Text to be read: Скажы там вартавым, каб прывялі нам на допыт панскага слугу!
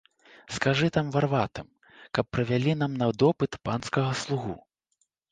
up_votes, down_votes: 0, 3